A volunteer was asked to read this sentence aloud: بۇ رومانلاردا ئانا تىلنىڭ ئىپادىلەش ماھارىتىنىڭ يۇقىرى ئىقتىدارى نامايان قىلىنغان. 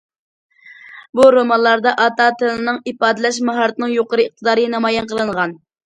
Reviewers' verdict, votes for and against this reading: rejected, 0, 2